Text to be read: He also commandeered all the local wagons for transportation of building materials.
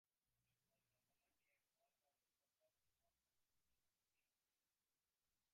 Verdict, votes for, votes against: rejected, 0, 2